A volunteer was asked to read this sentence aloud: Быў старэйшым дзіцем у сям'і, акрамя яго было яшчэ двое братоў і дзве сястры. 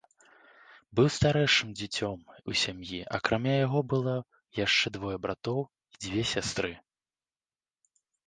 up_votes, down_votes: 2, 0